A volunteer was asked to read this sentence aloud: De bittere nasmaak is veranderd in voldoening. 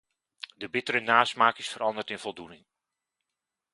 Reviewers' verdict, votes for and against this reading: accepted, 2, 0